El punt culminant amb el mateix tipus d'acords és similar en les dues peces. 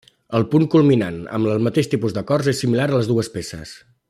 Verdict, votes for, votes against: rejected, 1, 2